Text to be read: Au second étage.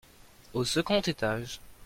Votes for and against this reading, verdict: 2, 0, accepted